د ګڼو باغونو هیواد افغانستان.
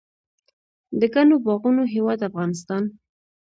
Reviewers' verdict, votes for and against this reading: accepted, 3, 0